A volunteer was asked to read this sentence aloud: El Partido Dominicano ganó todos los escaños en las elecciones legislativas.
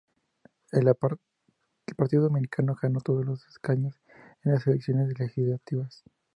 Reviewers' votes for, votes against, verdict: 0, 2, rejected